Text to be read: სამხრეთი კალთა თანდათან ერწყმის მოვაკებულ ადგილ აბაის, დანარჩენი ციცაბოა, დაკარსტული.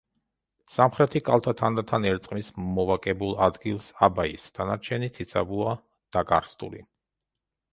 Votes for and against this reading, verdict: 0, 2, rejected